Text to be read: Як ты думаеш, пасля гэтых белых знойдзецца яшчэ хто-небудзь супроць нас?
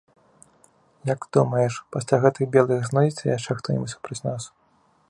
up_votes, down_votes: 2, 0